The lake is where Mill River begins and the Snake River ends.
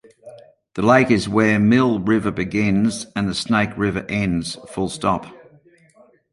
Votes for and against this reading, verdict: 1, 2, rejected